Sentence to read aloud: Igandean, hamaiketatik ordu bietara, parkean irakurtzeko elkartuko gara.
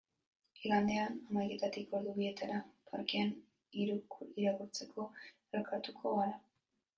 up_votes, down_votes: 1, 2